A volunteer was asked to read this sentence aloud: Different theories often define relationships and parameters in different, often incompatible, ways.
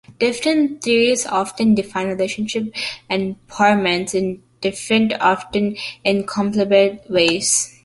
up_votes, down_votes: 0, 2